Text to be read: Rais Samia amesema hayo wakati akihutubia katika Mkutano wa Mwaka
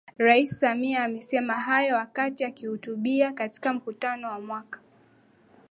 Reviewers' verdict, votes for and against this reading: accepted, 5, 1